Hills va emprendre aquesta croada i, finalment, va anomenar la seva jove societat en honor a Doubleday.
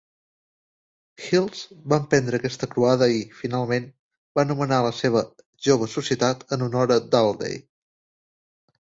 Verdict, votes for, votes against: accepted, 2, 0